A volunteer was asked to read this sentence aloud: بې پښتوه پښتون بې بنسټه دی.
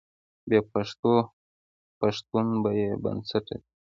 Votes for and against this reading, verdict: 2, 0, accepted